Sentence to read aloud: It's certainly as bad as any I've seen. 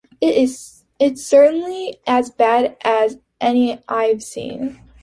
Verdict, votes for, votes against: rejected, 1, 2